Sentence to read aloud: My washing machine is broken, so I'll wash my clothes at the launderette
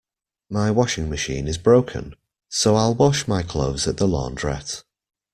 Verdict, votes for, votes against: accepted, 2, 0